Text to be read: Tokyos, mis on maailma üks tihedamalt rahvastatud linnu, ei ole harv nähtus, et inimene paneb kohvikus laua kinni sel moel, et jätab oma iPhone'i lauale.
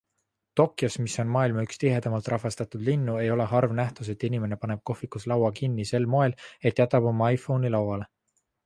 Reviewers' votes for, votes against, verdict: 2, 0, accepted